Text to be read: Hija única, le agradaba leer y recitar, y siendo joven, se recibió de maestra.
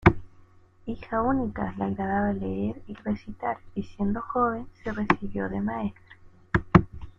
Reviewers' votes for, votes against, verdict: 1, 2, rejected